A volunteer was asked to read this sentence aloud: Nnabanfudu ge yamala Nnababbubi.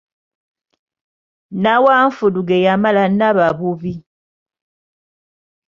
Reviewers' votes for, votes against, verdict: 1, 2, rejected